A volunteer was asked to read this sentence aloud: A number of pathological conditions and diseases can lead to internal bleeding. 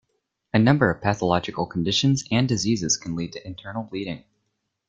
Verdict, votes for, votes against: accepted, 2, 0